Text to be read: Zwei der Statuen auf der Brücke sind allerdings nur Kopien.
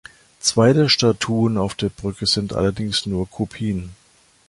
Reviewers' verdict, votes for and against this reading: accepted, 2, 0